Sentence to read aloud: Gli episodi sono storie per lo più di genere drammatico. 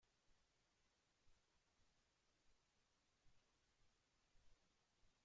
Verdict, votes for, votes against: rejected, 0, 2